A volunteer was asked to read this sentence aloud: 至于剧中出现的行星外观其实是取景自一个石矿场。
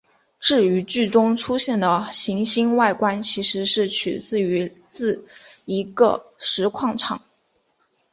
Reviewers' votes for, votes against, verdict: 3, 1, accepted